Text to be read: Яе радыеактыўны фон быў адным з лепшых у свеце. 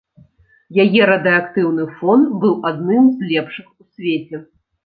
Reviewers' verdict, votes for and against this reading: accepted, 2, 1